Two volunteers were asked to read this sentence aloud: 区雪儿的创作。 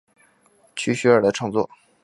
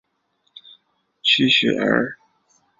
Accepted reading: first